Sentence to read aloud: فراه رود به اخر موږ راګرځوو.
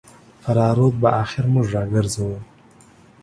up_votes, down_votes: 2, 0